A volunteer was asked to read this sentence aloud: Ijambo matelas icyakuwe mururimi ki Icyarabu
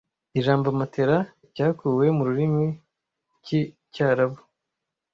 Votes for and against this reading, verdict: 1, 2, rejected